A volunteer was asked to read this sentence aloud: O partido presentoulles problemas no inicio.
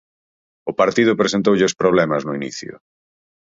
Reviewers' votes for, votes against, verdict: 4, 0, accepted